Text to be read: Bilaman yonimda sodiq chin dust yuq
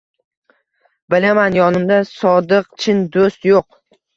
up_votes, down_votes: 2, 1